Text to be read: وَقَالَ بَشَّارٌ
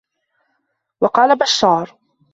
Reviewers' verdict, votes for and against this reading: accepted, 2, 0